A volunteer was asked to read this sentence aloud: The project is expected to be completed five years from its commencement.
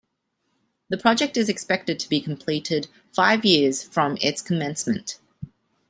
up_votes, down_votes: 2, 0